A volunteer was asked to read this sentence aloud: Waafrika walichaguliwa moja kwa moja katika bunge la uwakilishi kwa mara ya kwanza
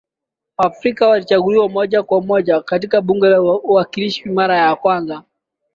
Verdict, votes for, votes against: rejected, 0, 2